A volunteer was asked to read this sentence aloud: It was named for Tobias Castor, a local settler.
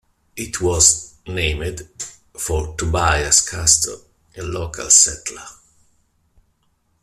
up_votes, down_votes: 0, 2